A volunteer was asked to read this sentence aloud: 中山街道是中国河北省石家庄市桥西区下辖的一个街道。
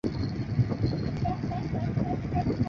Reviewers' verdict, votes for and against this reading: rejected, 0, 3